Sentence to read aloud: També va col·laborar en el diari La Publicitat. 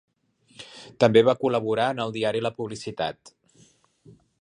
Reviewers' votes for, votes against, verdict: 3, 0, accepted